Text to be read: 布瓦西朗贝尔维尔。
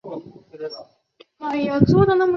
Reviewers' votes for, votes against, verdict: 1, 2, rejected